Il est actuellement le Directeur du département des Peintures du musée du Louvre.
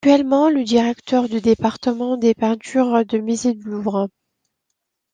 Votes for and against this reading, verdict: 1, 2, rejected